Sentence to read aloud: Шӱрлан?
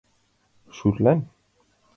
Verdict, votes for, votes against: accepted, 2, 0